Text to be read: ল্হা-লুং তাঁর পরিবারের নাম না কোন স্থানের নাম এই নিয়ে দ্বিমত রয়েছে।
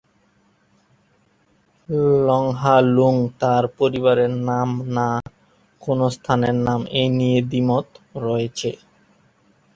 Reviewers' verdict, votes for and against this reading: rejected, 1, 2